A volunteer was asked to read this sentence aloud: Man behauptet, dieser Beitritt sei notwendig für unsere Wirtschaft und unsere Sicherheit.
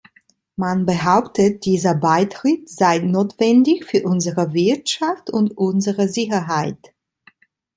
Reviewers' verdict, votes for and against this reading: accepted, 2, 0